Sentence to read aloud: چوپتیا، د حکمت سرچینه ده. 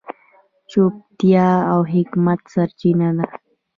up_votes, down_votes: 2, 1